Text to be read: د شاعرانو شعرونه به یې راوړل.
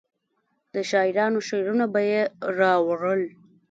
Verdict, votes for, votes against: rejected, 0, 3